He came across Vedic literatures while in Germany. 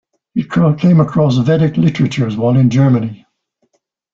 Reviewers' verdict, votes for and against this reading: rejected, 0, 2